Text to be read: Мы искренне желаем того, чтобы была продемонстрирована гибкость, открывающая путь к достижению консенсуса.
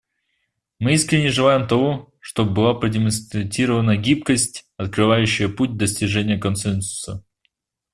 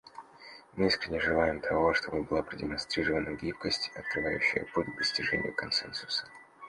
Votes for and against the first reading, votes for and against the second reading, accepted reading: 0, 2, 2, 0, second